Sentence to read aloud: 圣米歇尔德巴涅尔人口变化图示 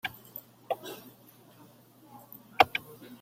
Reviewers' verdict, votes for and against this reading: rejected, 0, 2